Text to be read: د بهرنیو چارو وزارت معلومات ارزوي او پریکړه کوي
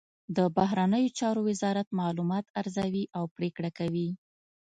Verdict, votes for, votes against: accepted, 2, 0